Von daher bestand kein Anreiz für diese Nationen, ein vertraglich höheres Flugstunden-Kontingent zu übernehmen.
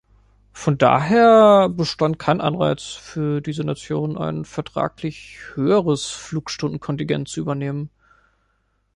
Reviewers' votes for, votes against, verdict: 2, 0, accepted